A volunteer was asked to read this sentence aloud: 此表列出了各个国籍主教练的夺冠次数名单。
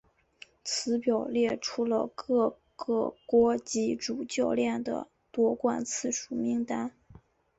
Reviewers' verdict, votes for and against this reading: accepted, 2, 0